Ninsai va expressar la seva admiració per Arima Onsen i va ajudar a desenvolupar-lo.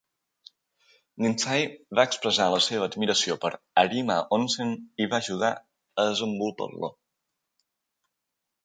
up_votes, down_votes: 1, 2